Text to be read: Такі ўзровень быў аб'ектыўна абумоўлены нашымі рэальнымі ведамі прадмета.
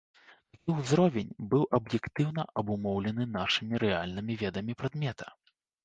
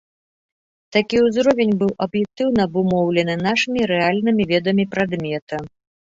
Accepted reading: second